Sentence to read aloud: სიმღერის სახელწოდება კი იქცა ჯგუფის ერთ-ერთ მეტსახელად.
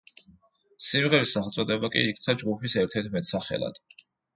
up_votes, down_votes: 2, 0